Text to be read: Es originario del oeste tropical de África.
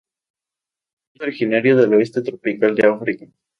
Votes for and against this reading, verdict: 2, 0, accepted